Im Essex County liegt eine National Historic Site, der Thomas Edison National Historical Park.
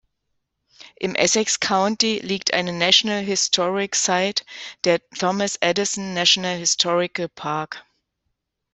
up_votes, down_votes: 2, 1